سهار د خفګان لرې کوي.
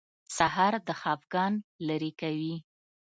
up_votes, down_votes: 2, 0